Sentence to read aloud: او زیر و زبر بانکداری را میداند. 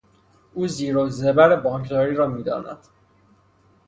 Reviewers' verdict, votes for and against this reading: accepted, 3, 0